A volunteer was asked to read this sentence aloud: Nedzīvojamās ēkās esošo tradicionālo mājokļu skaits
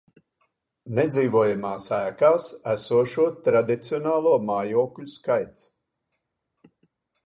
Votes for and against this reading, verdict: 2, 0, accepted